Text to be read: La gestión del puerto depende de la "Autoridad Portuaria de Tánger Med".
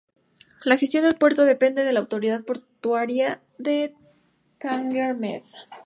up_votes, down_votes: 2, 4